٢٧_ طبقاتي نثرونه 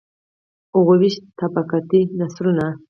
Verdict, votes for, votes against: rejected, 0, 2